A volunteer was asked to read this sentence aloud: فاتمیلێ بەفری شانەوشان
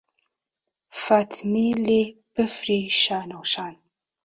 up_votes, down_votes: 2, 0